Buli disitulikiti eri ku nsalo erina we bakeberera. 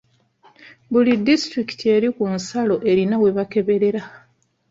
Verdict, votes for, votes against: accepted, 2, 1